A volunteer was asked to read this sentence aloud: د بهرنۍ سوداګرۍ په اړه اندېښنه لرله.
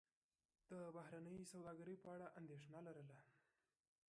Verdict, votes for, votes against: rejected, 0, 2